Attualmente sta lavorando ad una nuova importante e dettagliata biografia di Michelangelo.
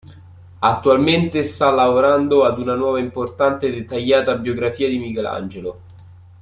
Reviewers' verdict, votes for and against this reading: accepted, 2, 0